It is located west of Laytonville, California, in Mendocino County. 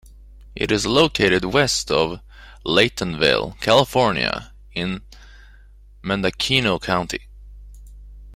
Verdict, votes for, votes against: accepted, 2, 0